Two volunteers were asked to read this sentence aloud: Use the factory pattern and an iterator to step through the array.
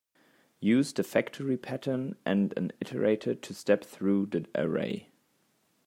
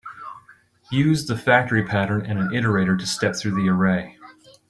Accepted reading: second